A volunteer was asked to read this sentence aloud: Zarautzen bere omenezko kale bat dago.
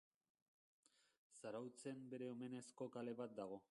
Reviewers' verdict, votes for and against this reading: rejected, 0, 2